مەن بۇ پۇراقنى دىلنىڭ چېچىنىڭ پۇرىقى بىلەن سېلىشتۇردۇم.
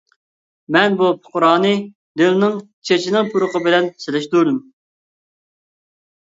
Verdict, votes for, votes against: rejected, 0, 2